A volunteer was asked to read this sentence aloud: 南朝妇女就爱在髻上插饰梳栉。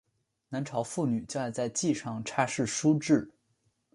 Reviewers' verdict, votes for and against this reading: accepted, 3, 0